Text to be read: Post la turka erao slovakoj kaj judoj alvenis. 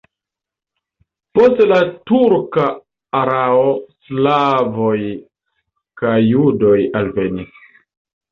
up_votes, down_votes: 0, 2